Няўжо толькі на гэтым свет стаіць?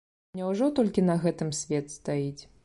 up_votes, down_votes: 3, 0